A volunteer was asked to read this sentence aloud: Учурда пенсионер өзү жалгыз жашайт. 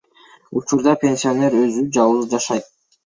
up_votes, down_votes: 0, 2